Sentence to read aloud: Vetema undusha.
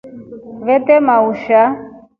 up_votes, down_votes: 2, 0